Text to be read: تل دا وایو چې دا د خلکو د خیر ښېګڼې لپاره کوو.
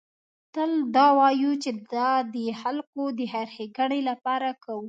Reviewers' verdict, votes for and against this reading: accepted, 2, 0